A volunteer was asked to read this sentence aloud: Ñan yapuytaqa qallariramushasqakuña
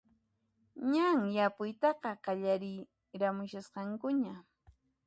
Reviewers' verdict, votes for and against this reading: rejected, 0, 2